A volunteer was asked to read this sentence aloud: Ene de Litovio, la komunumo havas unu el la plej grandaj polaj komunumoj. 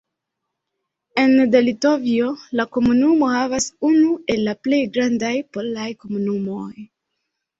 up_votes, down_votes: 0, 2